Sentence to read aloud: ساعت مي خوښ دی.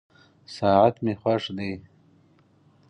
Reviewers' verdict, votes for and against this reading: accepted, 4, 0